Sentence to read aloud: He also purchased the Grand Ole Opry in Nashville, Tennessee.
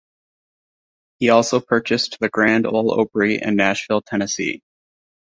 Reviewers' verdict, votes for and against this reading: rejected, 1, 2